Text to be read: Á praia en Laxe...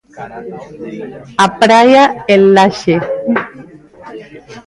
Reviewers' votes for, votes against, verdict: 0, 2, rejected